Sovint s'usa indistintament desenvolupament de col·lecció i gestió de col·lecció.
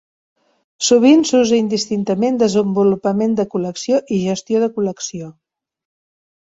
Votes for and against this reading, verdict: 3, 0, accepted